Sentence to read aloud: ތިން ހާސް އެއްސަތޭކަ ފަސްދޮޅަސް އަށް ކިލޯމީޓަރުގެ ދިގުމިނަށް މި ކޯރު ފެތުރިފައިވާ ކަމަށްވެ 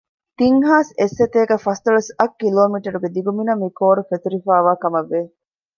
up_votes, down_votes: 2, 0